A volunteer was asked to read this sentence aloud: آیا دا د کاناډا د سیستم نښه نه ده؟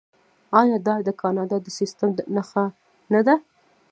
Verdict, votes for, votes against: rejected, 1, 2